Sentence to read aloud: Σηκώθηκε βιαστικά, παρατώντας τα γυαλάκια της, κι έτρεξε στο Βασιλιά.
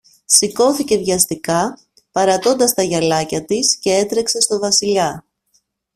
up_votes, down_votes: 2, 0